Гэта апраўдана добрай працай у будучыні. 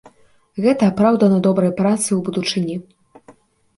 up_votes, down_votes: 1, 2